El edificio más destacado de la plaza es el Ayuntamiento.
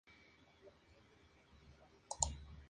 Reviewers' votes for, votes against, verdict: 0, 2, rejected